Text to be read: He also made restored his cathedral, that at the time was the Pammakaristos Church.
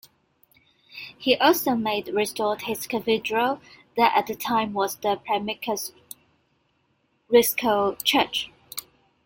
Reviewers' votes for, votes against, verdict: 1, 2, rejected